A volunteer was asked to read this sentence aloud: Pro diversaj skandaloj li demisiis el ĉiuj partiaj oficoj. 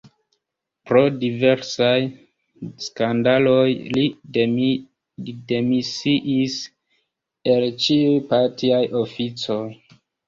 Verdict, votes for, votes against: rejected, 0, 2